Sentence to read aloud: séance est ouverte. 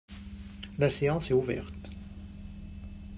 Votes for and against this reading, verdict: 0, 4, rejected